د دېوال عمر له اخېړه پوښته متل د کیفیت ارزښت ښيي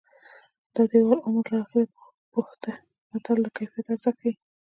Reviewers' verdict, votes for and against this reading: rejected, 2, 3